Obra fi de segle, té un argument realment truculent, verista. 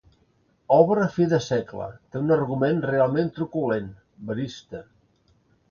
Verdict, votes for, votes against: accepted, 2, 0